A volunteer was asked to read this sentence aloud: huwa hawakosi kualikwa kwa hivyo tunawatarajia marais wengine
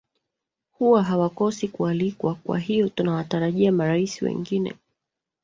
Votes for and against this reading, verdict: 0, 2, rejected